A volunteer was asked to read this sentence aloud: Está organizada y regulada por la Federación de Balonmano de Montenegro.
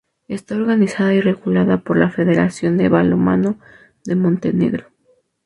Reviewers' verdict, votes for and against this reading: rejected, 0, 2